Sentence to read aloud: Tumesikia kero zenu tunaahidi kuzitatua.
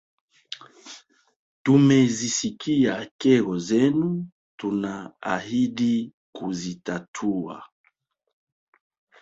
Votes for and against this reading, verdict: 1, 3, rejected